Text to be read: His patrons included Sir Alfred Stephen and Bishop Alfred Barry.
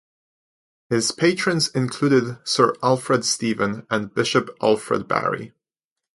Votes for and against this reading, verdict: 4, 0, accepted